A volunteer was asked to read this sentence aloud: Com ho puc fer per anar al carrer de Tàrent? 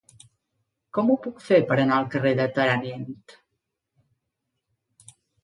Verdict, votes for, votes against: rejected, 0, 2